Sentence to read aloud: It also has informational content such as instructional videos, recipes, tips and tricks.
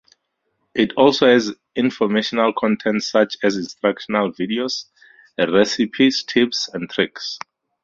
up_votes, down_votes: 4, 2